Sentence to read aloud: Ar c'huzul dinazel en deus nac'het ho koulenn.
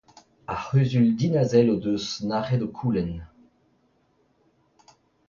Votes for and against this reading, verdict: 2, 0, accepted